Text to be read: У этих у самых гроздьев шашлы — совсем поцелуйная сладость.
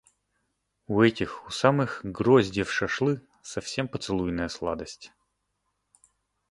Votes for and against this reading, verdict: 2, 0, accepted